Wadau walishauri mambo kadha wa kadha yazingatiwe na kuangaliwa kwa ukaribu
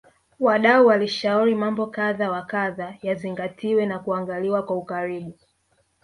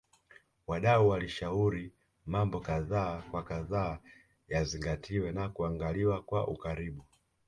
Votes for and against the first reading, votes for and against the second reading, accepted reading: 0, 2, 2, 1, second